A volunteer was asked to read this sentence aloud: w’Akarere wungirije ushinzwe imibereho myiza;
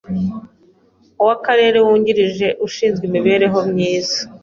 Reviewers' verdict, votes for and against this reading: accepted, 2, 0